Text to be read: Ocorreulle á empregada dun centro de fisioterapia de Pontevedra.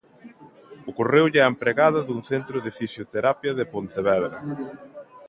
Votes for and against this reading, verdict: 1, 2, rejected